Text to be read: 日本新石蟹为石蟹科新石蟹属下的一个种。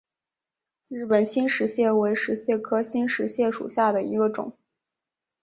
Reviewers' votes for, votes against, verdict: 4, 0, accepted